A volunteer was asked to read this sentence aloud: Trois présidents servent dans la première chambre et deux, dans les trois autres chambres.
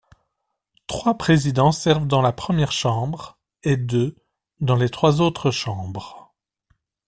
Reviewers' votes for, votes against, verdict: 2, 0, accepted